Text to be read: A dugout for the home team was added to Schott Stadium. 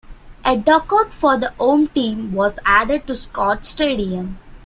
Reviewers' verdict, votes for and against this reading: rejected, 1, 2